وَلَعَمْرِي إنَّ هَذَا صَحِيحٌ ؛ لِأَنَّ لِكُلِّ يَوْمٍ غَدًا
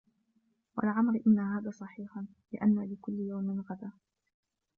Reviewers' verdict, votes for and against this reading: rejected, 1, 2